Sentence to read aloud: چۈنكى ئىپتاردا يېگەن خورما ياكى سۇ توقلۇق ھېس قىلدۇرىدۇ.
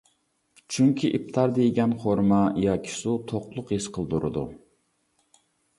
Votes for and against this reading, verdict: 2, 0, accepted